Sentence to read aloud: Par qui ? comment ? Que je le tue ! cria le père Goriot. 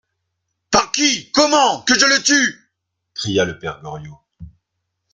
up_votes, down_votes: 2, 0